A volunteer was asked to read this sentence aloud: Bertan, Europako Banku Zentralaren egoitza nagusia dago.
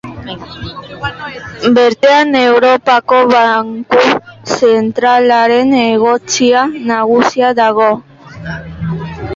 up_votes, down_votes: 0, 2